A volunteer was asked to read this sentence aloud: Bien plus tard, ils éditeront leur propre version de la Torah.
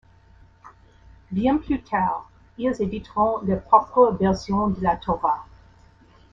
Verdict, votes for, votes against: accepted, 2, 1